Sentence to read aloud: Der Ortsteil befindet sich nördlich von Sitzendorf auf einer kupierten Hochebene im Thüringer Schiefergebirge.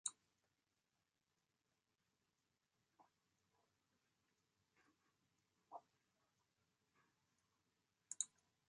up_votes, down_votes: 0, 2